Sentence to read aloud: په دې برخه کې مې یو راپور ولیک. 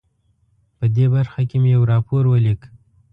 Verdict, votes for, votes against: accepted, 2, 0